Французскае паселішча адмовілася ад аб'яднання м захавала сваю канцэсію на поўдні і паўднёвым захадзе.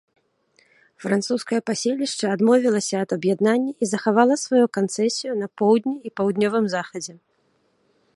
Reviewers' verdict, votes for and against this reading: accepted, 2, 1